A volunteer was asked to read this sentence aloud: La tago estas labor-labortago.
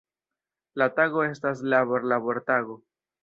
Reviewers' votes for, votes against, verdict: 2, 0, accepted